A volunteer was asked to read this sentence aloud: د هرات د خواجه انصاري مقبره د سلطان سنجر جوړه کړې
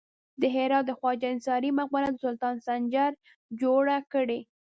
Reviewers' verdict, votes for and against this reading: rejected, 1, 2